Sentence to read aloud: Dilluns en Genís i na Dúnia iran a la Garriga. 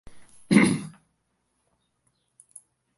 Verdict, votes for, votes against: rejected, 0, 2